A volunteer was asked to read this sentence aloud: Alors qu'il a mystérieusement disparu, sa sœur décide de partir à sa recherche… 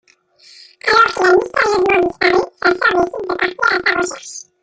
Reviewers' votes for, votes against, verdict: 0, 2, rejected